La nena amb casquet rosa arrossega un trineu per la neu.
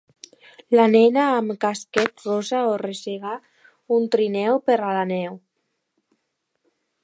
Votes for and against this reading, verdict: 0, 3, rejected